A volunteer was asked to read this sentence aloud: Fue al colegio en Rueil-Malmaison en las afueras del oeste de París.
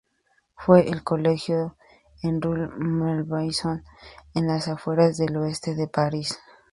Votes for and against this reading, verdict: 0, 2, rejected